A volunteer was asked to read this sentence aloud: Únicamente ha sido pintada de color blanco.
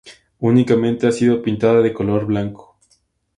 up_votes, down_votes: 8, 0